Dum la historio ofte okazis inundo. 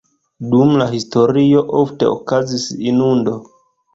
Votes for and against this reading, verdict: 2, 0, accepted